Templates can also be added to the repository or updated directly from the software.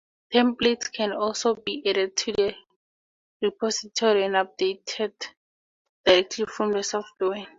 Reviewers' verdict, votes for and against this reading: rejected, 0, 4